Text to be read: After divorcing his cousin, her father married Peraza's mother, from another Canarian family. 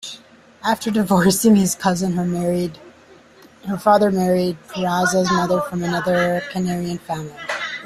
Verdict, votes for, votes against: rejected, 0, 2